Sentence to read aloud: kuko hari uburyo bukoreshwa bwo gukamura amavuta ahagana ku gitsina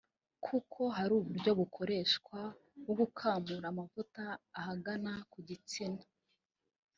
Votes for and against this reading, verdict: 1, 2, rejected